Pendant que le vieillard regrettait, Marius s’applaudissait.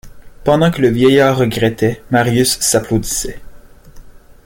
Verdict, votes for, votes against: accepted, 2, 0